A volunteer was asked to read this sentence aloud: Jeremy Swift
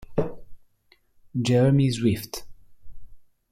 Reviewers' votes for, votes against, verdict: 2, 0, accepted